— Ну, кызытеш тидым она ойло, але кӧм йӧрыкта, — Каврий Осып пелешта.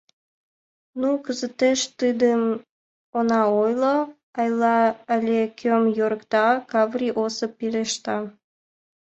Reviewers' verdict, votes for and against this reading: rejected, 1, 2